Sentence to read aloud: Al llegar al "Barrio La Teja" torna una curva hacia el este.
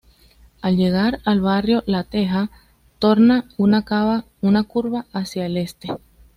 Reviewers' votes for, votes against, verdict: 1, 2, rejected